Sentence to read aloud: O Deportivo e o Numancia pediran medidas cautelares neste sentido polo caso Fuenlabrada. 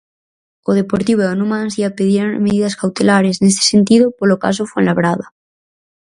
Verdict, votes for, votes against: rejected, 0, 4